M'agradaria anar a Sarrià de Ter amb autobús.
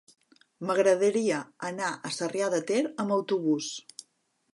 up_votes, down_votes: 3, 0